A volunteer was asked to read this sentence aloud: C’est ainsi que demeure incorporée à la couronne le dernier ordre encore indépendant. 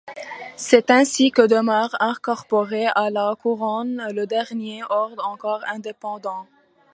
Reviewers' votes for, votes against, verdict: 2, 1, accepted